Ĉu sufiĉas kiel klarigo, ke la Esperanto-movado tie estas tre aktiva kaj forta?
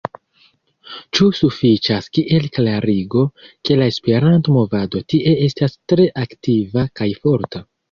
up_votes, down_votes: 3, 1